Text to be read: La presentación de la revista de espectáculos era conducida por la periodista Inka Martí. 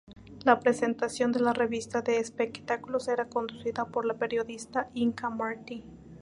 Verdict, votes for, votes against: accepted, 2, 0